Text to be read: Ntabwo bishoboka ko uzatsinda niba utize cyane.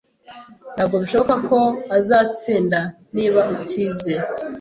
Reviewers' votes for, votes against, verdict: 0, 2, rejected